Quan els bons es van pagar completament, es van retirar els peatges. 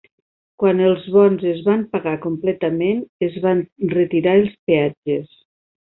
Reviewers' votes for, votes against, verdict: 3, 0, accepted